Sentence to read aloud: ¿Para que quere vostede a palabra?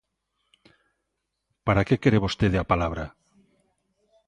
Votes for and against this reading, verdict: 2, 0, accepted